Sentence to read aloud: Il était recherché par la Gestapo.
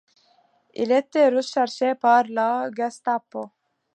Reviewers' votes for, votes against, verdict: 2, 0, accepted